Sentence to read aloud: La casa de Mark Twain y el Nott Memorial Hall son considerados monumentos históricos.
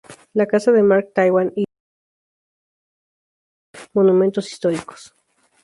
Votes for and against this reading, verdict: 2, 4, rejected